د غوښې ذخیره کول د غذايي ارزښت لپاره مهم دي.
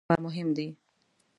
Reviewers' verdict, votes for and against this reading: rejected, 0, 2